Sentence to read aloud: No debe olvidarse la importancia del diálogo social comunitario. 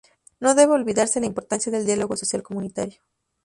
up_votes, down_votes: 2, 0